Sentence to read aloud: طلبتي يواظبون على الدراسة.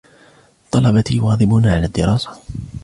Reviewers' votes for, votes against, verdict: 2, 0, accepted